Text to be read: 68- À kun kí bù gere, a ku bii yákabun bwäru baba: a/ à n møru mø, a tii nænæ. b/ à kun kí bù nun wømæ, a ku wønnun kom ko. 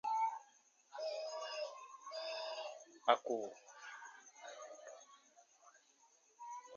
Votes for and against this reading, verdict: 0, 2, rejected